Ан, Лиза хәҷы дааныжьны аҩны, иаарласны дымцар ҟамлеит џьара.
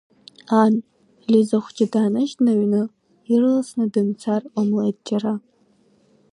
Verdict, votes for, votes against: rejected, 1, 2